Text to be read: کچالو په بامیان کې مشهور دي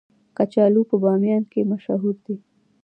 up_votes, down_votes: 2, 1